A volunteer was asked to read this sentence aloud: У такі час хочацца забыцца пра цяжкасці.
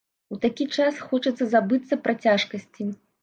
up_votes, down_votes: 2, 0